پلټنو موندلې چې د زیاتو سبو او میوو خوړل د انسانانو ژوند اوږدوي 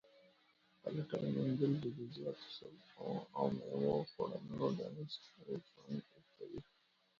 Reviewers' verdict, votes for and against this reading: rejected, 0, 2